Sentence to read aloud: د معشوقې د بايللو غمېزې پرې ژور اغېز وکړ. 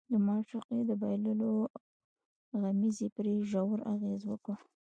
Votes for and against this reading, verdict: 1, 2, rejected